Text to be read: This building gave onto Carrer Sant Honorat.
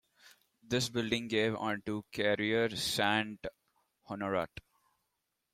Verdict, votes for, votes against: accepted, 2, 1